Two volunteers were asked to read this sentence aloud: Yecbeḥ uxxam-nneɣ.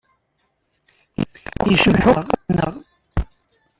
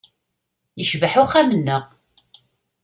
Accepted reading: second